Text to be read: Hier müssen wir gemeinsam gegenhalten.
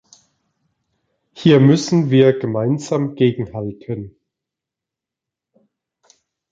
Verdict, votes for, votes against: accepted, 2, 0